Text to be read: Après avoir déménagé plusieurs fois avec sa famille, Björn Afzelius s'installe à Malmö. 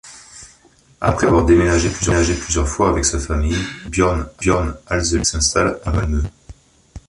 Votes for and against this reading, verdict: 0, 3, rejected